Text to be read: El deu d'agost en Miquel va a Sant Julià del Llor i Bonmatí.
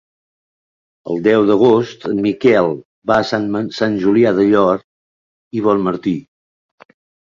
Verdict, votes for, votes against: rejected, 0, 3